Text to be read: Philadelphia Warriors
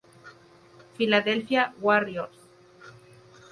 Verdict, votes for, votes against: accepted, 2, 0